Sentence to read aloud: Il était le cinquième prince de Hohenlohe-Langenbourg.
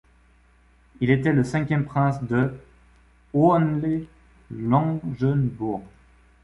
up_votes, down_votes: 0, 2